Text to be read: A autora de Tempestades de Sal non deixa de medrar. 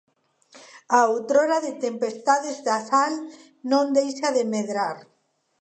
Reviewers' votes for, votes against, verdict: 1, 2, rejected